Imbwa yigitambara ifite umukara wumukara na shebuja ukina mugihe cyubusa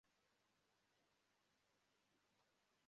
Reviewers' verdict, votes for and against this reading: rejected, 0, 2